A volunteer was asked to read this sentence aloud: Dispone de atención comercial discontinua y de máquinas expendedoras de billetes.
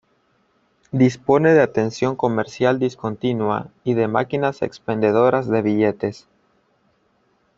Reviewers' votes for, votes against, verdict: 2, 1, accepted